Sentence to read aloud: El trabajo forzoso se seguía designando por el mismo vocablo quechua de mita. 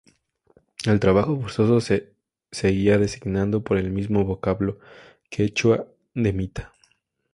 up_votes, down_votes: 0, 2